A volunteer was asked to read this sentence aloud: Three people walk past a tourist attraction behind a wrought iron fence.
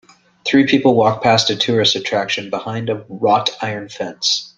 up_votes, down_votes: 0, 2